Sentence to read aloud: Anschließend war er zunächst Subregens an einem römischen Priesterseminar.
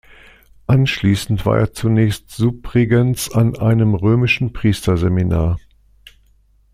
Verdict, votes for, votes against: accepted, 2, 0